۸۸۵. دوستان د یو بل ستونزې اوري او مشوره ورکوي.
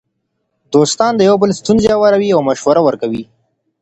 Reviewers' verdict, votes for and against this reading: rejected, 0, 2